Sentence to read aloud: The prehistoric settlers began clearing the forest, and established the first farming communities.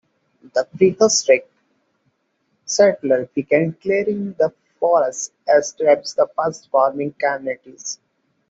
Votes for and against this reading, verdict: 2, 1, accepted